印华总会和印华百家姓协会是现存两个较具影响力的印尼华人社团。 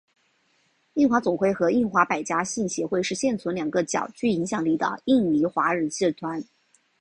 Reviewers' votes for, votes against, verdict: 6, 0, accepted